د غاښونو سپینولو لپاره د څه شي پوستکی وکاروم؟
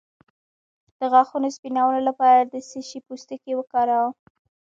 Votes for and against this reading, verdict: 2, 1, accepted